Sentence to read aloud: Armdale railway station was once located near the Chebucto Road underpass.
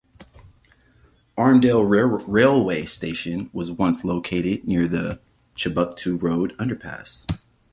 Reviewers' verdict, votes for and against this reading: rejected, 0, 2